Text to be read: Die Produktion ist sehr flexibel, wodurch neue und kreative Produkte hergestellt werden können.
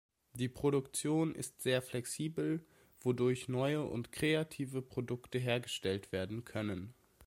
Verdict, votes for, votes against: accepted, 2, 0